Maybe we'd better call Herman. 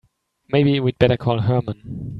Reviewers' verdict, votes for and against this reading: accepted, 2, 0